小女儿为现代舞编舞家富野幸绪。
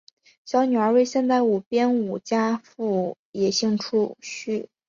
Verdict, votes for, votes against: rejected, 1, 3